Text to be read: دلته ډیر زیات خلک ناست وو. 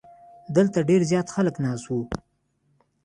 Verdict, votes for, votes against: accepted, 2, 0